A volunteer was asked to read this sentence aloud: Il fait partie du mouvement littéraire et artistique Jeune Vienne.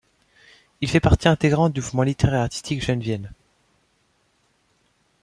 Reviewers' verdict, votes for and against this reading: rejected, 0, 2